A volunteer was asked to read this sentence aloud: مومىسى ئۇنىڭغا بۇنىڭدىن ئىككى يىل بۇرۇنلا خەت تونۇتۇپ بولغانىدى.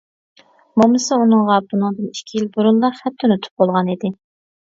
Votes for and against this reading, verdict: 2, 0, accepted